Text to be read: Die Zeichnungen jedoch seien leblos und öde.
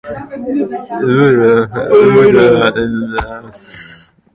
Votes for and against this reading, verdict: 0, 2, rejected